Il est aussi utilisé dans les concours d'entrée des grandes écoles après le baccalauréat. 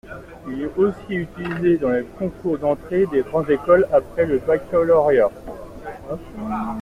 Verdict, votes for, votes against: accepted, 2, 1